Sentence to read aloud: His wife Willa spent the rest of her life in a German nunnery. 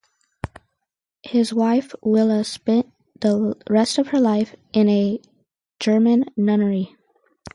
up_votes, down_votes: 4, 0